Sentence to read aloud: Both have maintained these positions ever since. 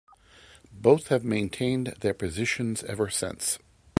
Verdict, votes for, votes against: rejected, 0, 2